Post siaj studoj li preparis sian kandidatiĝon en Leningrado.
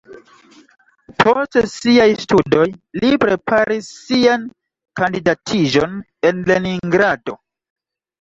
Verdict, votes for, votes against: rejected, 1, 2